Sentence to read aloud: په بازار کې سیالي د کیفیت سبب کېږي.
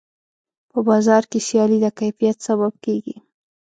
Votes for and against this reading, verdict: 2, 0, accepted